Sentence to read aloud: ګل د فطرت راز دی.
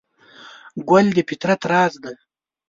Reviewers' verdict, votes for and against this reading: accepted, 2, 0